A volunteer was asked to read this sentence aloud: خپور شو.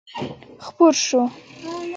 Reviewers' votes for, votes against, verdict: 2, 1, accepted